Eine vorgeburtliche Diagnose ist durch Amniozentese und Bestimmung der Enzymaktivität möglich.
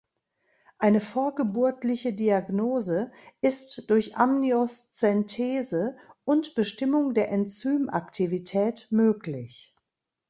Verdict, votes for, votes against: rejected, 0, 2